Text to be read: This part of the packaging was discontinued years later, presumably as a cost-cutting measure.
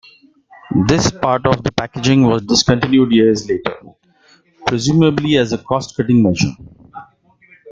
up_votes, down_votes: 1, 2